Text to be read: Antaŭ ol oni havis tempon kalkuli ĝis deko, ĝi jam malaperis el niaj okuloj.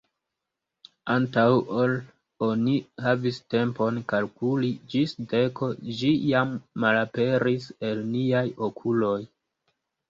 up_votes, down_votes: 2, 0